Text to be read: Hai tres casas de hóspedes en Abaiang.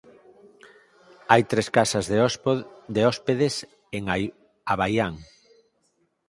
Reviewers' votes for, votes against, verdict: 0, 4, rejected